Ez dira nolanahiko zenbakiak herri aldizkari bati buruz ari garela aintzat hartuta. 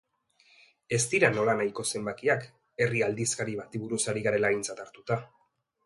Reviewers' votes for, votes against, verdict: 2, 0, accepted